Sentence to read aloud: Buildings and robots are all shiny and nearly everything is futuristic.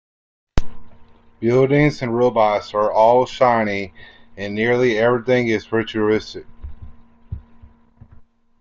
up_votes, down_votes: 2, 0